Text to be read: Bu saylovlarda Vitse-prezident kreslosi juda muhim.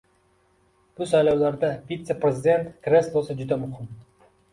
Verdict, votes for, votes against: accepted, 2, 0